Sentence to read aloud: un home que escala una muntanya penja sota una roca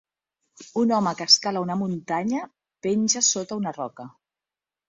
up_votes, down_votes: 2, 0